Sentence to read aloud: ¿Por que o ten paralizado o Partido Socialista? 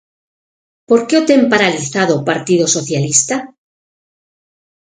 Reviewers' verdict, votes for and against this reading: accepted, 6, 0